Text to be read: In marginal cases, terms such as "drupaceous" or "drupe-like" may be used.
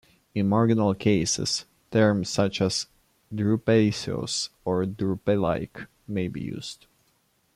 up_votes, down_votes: 1, 2